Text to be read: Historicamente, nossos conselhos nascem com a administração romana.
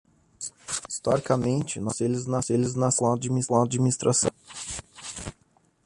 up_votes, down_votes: 0, 2